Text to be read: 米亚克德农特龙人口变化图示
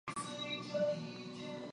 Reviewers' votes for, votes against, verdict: 0, 3, rejected